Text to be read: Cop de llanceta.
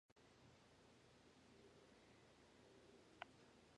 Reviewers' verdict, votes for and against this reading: rejected, 0, 2